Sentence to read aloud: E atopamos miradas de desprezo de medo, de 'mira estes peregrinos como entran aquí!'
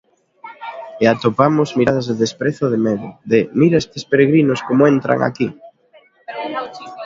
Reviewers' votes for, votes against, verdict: 1, 2, rejected